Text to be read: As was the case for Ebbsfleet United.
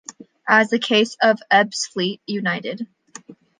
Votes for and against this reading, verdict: 1, 2, rejected